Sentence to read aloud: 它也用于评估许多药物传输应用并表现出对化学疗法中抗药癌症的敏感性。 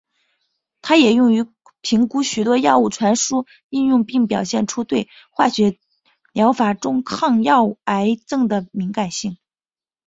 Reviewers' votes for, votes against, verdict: 5, 6, rejected